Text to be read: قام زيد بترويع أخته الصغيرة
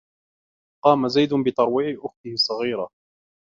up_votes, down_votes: 2, 0